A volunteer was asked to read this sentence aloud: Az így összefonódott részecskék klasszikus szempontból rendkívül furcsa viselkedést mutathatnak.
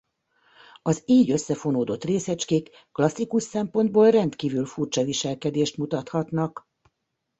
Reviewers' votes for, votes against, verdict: 2, 0, accepted